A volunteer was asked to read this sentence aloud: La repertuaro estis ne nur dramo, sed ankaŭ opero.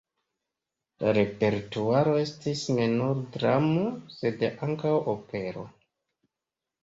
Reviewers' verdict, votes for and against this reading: accepted, 2, 0